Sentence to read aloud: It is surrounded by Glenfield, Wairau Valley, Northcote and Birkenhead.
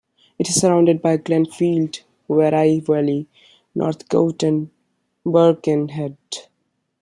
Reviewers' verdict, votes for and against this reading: accepted, 2, 1